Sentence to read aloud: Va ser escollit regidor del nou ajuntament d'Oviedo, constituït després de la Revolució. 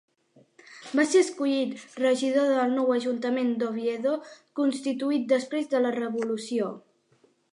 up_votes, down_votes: 2, 0